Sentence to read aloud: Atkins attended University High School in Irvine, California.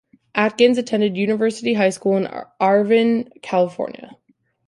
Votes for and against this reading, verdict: 0, 2, rejected